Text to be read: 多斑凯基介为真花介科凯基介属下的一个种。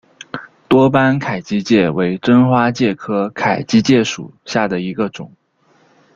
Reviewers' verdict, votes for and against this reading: accepted, 2, 1